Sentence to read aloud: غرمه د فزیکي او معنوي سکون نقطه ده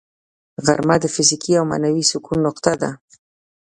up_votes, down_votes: 1, 2